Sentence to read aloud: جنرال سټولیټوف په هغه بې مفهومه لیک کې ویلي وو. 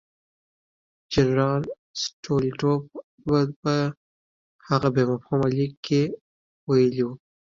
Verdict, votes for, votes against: rejected, 1, 2